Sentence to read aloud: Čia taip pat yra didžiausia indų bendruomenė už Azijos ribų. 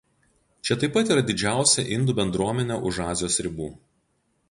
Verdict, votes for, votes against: accepted, 2, 0